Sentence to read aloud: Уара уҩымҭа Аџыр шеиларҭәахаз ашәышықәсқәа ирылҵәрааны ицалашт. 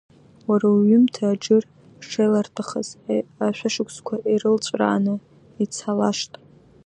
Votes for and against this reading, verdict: 2, 1, accepted